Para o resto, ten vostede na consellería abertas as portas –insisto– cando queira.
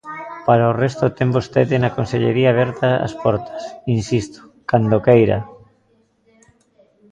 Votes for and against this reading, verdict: 0, 2, rejected